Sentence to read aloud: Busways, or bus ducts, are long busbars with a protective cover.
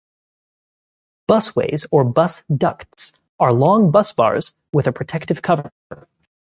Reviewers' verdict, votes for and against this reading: accepted, 2, 0